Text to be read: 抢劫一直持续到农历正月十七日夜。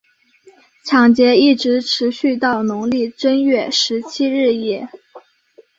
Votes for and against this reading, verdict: 2, 0, accepted